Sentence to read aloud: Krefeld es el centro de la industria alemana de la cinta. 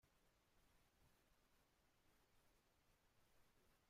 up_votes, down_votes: 0, 2